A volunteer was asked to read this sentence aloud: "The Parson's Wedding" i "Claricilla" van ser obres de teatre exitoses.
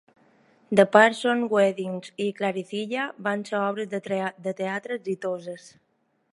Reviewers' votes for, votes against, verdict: 1, 2, rejected